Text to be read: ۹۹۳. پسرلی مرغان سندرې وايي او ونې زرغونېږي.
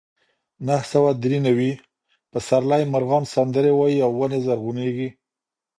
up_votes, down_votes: 0, 2